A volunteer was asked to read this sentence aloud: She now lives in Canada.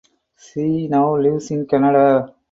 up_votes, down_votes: 4, 2